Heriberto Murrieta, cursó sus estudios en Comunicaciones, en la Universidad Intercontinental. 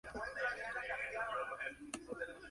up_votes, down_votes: 0, 3